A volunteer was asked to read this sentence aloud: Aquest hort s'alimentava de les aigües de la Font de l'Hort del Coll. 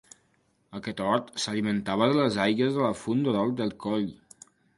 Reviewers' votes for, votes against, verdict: 2, 1, accepted